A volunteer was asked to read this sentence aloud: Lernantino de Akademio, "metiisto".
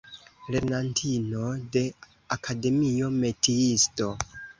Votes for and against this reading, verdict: 2, 0, accepted